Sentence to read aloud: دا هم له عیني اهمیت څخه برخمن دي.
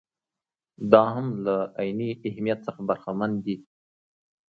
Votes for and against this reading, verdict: 2, 0, accepted